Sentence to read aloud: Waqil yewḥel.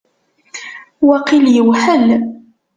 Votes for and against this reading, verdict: 2, 0, accepted